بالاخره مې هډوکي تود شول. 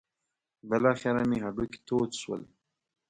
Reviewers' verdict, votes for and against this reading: accepted, 2, 0